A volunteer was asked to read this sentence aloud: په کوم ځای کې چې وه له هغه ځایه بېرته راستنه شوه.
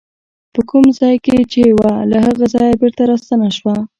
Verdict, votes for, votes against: accepted, 2, 1